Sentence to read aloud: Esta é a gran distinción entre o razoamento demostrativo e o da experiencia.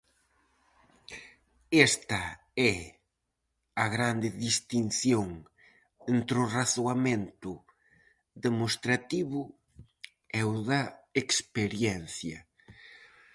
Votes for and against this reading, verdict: 2, 2, rejected